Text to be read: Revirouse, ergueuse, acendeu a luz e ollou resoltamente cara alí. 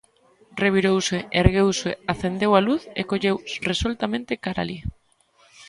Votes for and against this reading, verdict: 0, 2, rejected